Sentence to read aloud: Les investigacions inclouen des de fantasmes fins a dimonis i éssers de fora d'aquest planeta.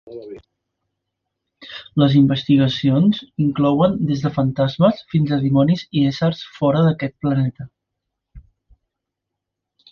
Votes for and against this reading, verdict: 0, 2, rejected